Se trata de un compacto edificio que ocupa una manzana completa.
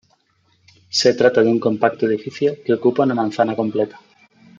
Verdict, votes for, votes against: accepted, 2, 0